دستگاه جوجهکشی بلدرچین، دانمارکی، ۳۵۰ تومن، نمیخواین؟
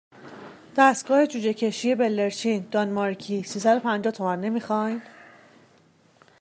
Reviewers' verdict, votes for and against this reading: rejected, 0, 2